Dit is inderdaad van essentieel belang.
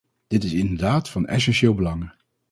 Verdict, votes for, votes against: rejected, 2, 2